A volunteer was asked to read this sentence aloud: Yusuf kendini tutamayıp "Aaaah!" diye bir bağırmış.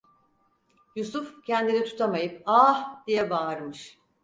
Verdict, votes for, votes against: rejected, 2, 4